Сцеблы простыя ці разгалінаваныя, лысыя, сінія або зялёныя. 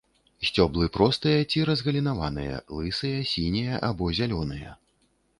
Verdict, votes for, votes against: rejected, 1, 2